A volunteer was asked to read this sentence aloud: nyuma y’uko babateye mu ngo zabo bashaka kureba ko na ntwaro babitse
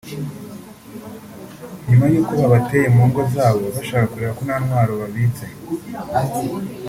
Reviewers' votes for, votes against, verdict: 0, 2, rejected